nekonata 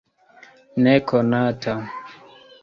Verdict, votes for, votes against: accepted, 2, 0